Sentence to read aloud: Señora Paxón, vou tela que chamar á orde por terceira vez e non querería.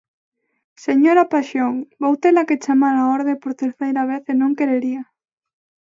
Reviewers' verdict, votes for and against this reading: accepted, 2, 0